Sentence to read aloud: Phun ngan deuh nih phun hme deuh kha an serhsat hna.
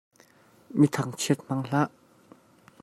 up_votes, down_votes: 0, 2